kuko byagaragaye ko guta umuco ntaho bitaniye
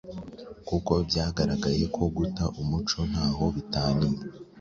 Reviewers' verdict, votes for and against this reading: accepted, 3, 0